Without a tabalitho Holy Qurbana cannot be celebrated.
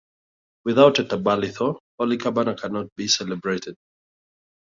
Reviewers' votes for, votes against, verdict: 2, 0, accepted